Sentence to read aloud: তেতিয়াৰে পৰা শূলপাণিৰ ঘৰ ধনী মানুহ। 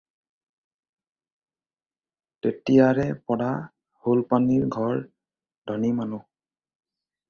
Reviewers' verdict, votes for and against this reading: accepted, 4, 0